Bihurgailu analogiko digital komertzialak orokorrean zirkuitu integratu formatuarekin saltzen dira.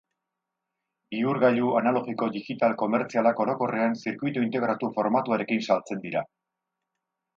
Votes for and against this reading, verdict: 10, 0, accepted